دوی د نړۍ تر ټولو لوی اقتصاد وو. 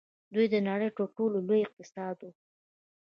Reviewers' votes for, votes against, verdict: 3, 0, accepted